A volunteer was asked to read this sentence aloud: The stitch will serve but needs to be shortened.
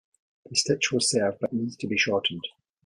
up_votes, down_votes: 0, 2